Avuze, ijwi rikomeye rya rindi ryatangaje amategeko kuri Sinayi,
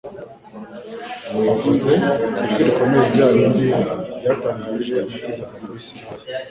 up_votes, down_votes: 1, 2